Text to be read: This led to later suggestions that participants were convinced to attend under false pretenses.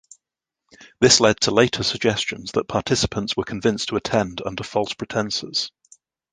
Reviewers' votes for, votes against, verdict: 2, 0, accepted